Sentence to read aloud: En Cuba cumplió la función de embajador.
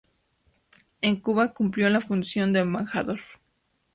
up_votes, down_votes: 2, 0